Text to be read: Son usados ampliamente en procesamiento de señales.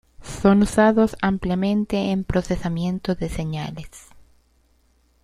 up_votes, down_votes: 1, 2